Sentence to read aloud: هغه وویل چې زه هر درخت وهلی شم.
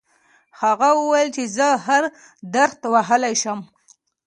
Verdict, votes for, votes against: accepted, 2, 1